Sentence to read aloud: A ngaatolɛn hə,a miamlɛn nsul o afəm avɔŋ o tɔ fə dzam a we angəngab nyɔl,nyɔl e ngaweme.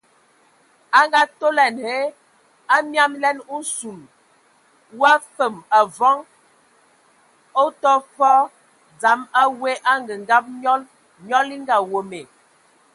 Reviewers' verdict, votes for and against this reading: accepted, 2, 0